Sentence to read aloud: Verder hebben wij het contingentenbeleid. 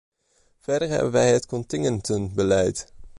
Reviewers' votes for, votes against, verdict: 1, 2, rejected